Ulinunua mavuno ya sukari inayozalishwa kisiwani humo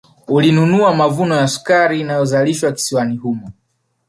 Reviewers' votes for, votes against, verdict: 1, 2, rejected